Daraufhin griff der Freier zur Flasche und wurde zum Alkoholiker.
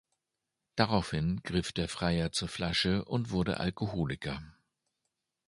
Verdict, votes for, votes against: rejected, 1, 2